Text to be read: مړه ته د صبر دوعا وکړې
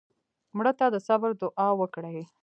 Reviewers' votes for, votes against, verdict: 2, 0, accepted